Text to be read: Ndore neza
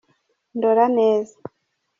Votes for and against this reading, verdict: 1, 2, rejected